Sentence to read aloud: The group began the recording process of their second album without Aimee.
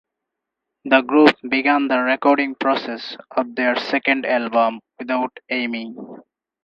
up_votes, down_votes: 4, 2